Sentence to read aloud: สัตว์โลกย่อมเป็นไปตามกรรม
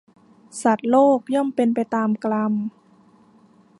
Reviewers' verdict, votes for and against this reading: rejected, 1, 2